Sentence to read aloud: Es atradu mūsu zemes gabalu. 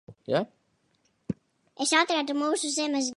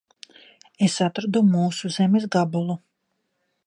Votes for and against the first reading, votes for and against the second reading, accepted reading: 0, 2, 2, 1, second